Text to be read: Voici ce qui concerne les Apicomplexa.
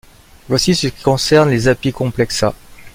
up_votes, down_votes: 2, 0